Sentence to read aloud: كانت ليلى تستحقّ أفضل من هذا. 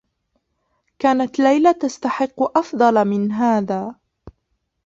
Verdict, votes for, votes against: rejected, 1, 2